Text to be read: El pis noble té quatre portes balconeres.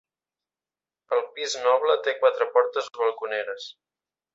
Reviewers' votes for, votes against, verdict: 0, 2, rejected